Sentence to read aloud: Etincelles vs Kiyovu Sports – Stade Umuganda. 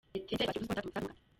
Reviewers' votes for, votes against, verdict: 0, 2, rejected